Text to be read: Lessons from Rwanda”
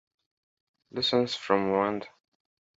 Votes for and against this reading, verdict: 2, 1, accepted